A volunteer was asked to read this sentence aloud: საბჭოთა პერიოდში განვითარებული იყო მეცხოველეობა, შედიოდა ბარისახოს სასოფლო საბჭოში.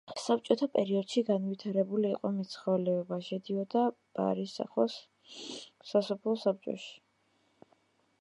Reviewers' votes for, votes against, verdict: 1, 2, rejected